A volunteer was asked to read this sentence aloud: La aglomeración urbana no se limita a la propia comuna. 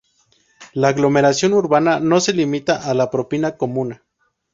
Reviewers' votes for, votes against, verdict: 2, 4, rejected